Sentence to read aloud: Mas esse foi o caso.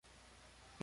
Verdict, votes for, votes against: rejected, 0, 2